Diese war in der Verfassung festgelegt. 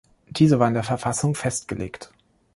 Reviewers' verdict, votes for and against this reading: accepted, 2, 0